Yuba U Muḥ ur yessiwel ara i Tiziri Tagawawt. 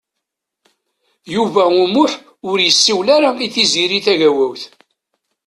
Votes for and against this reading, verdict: 2, 0, accepted